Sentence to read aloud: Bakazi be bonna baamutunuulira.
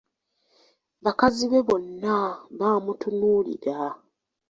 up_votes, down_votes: 2, 0